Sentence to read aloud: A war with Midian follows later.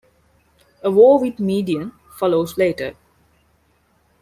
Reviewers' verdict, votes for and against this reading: accepted, 2, 0